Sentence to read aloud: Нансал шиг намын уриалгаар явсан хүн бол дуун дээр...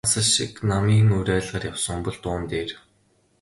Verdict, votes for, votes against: rejected, 2, 2